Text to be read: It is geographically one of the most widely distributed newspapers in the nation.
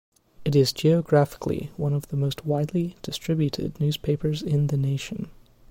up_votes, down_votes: 2, 0